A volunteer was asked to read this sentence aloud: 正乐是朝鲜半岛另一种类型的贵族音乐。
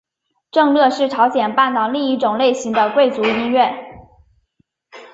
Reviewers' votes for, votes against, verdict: 2, 0, accepted